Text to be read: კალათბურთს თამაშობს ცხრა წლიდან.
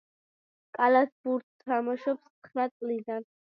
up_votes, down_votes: 2, 0